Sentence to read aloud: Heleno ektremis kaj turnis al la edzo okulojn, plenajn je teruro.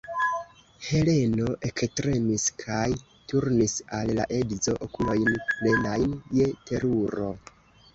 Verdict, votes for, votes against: rejected, 0, 2